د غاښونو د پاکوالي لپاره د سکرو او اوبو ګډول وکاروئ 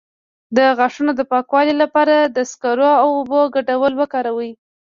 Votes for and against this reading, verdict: 2, 0, accepted